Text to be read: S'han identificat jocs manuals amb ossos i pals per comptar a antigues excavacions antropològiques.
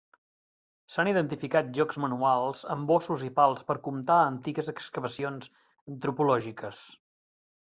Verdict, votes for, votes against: accepted, 2, 0